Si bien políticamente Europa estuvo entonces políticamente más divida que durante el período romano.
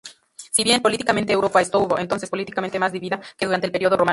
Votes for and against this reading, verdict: 0, 4, rejected